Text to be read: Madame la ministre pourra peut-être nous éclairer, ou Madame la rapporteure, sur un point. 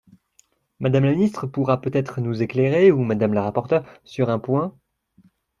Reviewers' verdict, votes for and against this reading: accepted, 2, 0